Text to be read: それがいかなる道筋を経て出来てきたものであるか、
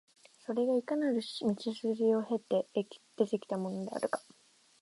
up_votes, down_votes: 2, 4